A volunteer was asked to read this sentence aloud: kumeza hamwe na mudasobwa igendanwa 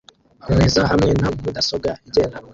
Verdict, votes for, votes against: rejected, 1, 2